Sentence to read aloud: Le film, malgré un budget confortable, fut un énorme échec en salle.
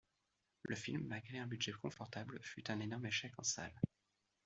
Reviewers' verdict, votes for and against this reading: accepted, 2, 0